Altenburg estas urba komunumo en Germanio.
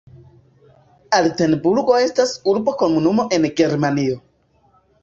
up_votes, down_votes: 0, 2